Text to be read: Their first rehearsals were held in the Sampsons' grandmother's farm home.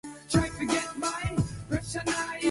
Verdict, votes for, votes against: rejected, 0, 2